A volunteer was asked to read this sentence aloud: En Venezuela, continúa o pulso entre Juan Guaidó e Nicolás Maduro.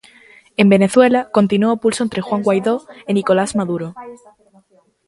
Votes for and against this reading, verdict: 2, 0, accepted